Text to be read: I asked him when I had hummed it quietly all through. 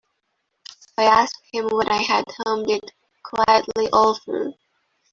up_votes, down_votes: 1, 2